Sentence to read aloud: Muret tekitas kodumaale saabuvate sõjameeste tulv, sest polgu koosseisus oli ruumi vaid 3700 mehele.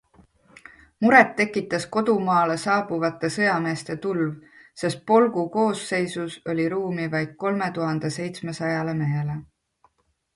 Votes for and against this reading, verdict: 0, 2, rejected